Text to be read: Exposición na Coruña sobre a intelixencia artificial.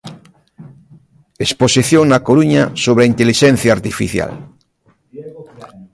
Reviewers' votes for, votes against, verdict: 1, 2, rejected